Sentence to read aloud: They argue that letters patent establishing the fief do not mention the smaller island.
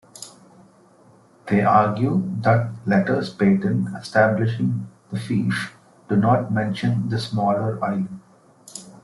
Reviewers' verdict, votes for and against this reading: accepted, 2, 1